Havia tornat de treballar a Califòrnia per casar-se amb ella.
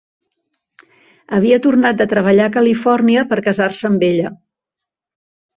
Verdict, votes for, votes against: accepted, 2, 0